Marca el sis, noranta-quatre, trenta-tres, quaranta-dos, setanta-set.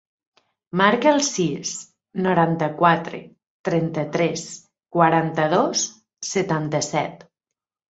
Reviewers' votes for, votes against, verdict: 4, 0, accepted